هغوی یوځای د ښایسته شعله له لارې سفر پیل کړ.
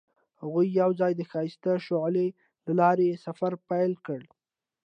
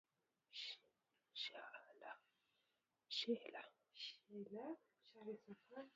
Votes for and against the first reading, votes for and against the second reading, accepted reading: 2, 0, 0, 2, first